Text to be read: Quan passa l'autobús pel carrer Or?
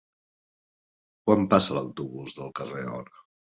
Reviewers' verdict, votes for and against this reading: rejected, 1, 2